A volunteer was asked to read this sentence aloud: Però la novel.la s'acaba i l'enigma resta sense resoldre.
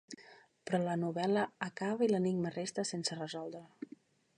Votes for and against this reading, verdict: 0, 2, rejected